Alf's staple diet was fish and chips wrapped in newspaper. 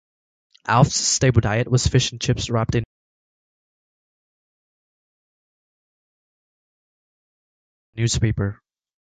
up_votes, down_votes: 0, 2